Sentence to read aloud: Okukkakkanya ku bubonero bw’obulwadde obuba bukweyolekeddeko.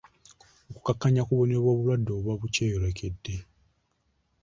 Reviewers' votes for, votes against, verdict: 2, 0, accepted